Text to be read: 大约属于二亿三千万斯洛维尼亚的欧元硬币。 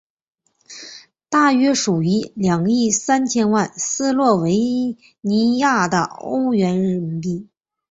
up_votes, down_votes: 0, 3